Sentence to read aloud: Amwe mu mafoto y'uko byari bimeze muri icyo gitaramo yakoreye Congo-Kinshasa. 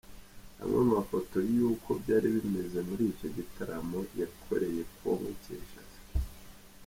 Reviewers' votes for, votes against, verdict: 2, 0, accepted